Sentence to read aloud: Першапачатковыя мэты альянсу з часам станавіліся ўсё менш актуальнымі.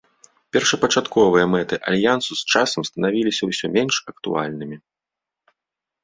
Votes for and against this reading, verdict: 2, 0, accepted